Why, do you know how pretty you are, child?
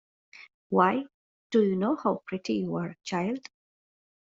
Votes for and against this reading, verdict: 2, 1, accepted